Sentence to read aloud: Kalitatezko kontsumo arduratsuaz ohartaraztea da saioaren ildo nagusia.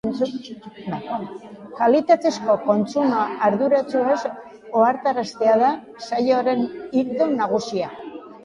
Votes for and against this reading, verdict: 0, 2, rejected